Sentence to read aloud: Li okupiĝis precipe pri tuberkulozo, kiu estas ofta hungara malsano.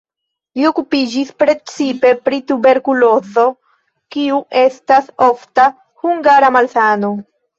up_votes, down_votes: 0, 2